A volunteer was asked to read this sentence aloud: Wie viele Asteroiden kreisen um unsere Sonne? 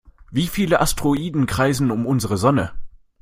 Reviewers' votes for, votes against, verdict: 2, 0, accepted